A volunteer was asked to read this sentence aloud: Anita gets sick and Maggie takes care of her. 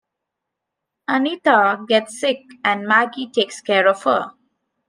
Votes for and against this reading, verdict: 2, 0, accepted